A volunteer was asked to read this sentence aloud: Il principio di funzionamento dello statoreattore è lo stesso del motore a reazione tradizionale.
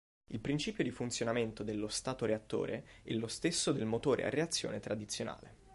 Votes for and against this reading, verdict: 2, 0, accepted